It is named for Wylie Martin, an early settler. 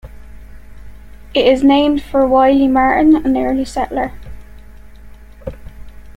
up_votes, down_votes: 2, 1